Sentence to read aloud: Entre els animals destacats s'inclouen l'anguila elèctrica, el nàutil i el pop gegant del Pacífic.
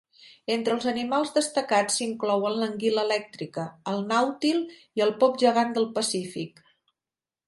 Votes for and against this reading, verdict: 3, 0, accepted